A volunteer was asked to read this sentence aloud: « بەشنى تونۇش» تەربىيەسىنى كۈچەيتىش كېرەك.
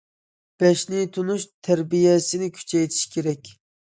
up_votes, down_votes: 2, 0